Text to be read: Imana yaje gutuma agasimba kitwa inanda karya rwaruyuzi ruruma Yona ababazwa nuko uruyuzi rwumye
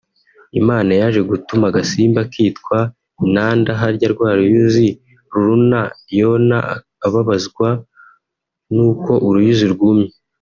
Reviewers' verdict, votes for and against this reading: rejected, 1, 2